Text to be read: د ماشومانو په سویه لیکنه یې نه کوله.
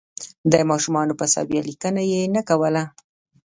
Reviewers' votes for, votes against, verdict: 0, 2, rejected